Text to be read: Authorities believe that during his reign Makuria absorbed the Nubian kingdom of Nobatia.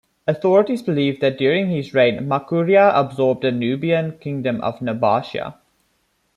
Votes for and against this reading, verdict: 2, 0, accepted